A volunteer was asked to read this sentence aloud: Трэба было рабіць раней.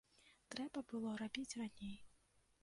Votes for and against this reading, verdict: 1, 2, rejected